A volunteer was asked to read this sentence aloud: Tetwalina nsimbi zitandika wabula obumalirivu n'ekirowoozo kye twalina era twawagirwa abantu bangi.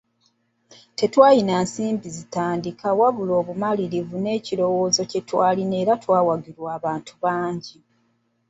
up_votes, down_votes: 0, 2